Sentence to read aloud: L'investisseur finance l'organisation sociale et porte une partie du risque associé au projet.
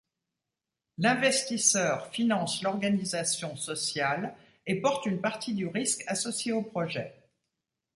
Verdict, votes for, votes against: accepted, 2, 0